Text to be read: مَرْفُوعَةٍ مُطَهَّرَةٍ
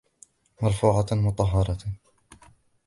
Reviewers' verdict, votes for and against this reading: accepted, 2, 0